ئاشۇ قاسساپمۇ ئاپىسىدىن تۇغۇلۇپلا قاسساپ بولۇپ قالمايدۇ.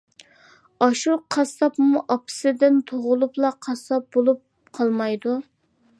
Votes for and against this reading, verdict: 2, 0, accepted